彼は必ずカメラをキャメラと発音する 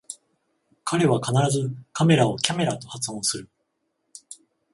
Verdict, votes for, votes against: accepted, 14, 0